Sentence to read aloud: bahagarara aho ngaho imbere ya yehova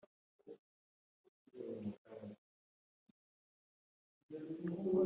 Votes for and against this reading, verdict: 0, 3, rejected